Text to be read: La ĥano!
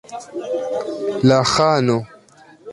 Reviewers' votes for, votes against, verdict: 2, 0, accepted